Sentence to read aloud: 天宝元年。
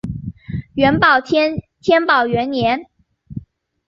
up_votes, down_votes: 0, 2